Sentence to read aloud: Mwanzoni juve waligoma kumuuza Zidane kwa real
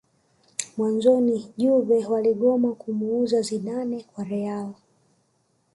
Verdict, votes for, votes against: rejected, 1, 2